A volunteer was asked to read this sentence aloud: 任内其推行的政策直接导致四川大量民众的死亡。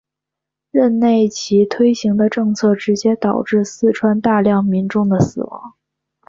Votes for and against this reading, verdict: 2, 0, accepted